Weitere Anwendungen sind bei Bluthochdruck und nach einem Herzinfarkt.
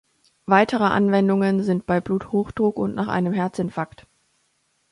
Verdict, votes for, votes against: accepted, 2, 0